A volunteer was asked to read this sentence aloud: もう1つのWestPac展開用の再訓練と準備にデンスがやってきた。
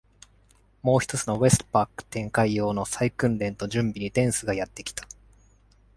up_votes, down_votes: 0, 2